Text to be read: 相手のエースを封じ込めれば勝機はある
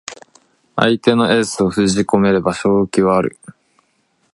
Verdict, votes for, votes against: accepted, 2, 0